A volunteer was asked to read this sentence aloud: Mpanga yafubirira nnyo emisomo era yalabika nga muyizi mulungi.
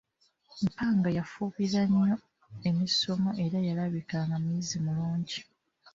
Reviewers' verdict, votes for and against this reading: rejected, 1, 2